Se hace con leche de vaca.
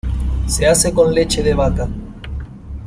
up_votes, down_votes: 1, 2